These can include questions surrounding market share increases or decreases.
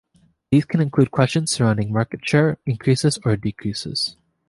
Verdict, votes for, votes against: accepted, 2, 0